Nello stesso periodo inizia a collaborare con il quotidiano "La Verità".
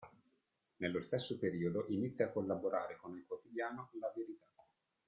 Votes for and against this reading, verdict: 2, 0, accepted